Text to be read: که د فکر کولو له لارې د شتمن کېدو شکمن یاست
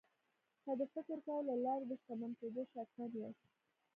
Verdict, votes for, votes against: rejected, 1, 2